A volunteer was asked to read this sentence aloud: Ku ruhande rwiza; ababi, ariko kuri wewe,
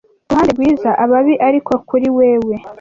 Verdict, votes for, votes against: accepted, 2, 0